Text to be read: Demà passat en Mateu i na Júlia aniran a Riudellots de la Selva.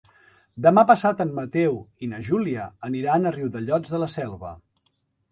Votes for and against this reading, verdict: 3, 0, accepted